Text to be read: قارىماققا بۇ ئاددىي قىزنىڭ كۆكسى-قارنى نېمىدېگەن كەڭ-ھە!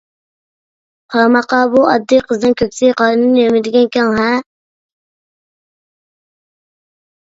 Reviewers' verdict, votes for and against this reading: accepted, 2, 0